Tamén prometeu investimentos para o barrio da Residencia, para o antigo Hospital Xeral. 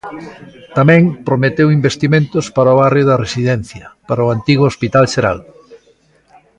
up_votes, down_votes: 2, 0